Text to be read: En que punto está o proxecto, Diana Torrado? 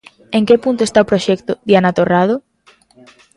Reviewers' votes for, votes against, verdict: 2, 0, accepted